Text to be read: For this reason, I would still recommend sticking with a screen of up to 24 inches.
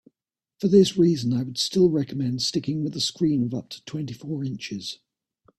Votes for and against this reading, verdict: 0, 2, rejected